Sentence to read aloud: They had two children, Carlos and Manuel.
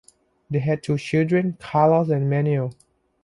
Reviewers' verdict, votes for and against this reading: accepted, 2, 0